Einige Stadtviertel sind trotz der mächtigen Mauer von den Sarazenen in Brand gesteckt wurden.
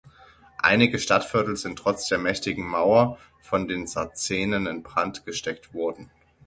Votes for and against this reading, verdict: 0, 6, rejected